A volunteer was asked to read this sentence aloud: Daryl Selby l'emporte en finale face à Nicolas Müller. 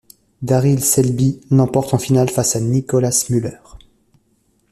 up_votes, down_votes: 2, 0